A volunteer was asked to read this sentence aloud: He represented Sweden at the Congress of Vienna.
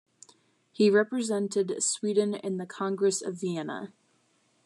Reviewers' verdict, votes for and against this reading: rejected, 0, 2